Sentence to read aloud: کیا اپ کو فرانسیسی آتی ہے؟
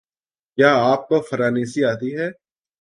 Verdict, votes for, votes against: rejected, 1, 2